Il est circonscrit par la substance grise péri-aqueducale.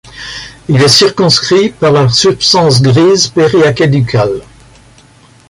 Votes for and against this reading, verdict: 1, 2, rejected